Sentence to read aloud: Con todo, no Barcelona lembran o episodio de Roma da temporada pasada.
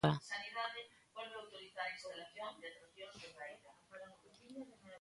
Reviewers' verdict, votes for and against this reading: rejected, 0, 2